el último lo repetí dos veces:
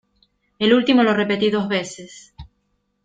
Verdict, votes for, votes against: accepted, 2, 0